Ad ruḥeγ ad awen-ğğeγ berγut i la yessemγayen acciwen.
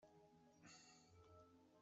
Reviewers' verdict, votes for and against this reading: rejected, 1, 2